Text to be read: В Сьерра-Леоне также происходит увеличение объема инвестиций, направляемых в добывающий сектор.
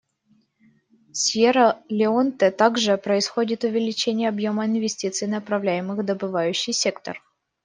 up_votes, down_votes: 1, 2